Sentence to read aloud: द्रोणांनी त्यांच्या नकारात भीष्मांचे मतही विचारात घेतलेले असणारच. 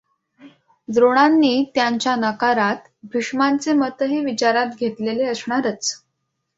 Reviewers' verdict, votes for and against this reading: accepted, 2, 0